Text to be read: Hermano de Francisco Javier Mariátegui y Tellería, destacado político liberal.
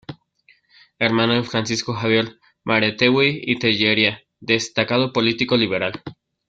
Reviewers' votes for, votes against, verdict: 0, 2, rejected